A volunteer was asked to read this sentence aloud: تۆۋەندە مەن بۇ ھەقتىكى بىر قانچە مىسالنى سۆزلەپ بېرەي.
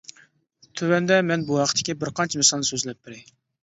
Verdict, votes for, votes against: accepted, 2, 0